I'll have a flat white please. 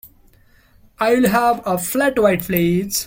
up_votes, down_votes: 1, 2